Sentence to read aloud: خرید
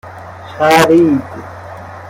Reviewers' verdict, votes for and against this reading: rejected, 1, 2